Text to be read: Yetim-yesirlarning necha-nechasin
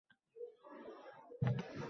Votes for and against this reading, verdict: 0, 2, rejected